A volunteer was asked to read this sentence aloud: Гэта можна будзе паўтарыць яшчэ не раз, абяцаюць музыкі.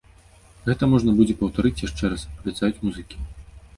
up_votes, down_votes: 0, 2